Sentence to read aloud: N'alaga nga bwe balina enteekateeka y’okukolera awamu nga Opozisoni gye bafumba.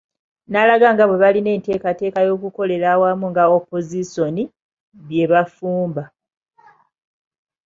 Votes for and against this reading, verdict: 0, 2, rejected